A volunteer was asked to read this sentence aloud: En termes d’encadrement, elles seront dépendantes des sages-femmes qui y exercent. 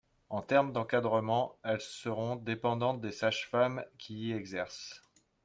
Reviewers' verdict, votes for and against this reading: rejected, 1, 2